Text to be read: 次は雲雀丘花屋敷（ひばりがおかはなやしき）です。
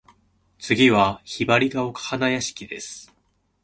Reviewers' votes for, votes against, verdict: 2, 0, accepted